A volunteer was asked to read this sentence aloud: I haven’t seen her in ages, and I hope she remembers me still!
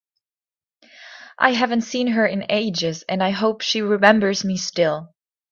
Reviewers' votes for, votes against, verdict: 2, 0, accepted